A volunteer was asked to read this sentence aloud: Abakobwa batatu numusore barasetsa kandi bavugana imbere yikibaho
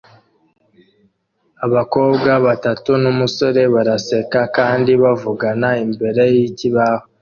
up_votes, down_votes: 2, 0